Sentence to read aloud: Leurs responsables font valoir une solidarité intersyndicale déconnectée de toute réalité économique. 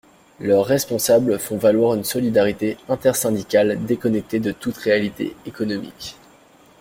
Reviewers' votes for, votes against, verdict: 2, 1, accepted